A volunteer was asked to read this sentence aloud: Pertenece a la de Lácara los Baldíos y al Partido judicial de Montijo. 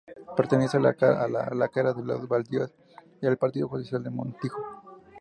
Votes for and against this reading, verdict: 2, 0, accepted